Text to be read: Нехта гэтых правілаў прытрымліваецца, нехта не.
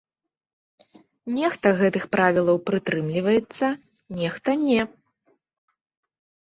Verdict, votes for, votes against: accepted, 2, 0